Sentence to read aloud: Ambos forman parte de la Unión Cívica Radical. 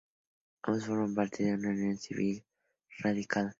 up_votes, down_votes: 0, 2